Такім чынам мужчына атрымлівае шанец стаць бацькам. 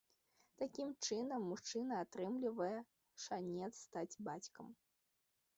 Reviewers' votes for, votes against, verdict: 1, 2, rejected